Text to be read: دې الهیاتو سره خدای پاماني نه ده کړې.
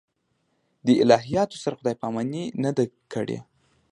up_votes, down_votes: 2, 0